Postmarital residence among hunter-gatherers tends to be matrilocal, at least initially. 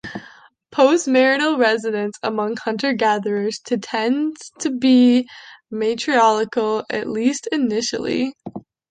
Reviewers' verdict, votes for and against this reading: rejected, 2, 3